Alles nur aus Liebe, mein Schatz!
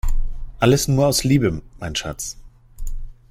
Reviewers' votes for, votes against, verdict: 0, 2, rejected